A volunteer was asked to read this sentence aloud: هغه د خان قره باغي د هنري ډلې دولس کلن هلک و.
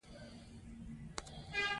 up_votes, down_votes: 2, 0